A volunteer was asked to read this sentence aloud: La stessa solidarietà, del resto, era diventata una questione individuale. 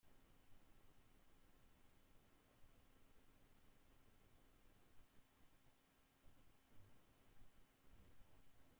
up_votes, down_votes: 0, 2